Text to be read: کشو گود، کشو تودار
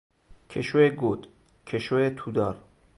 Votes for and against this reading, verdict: 2, 2, rejected